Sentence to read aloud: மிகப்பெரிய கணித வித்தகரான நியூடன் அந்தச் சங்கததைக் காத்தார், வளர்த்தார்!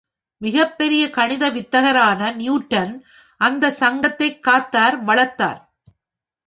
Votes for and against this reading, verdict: 5, 0, accepted